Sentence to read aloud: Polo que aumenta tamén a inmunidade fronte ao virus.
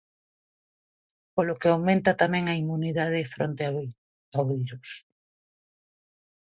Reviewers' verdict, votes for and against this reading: rejected, 0, 2